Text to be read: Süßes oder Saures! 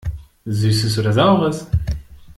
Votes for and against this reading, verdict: 2, 0, accepted